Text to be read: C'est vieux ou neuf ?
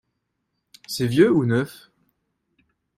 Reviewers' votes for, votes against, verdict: 2, 0, accepted